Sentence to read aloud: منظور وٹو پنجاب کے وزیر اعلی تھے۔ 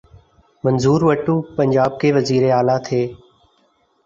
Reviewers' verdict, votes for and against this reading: accepted, 2, 0